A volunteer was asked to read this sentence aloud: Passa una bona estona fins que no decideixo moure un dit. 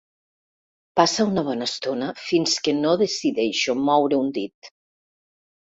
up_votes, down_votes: 3, 0